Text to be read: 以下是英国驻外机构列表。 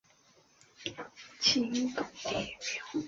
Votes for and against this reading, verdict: 0, 3, rejected